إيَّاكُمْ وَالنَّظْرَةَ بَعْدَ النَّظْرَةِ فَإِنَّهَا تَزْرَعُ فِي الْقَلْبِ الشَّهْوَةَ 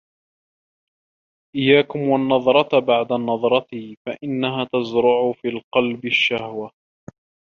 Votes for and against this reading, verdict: 2, 0, accepted